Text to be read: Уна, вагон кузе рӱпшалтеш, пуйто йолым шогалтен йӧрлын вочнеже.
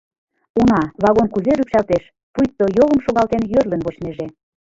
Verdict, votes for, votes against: rejected, 0, 2